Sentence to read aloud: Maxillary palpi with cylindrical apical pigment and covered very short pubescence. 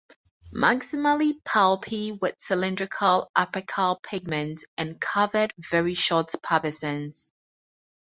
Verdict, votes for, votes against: rejected, 2, 4